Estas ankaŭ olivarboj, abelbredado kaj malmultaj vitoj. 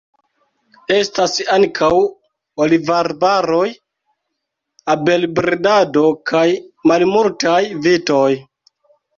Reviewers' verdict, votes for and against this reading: accepted, 2, 1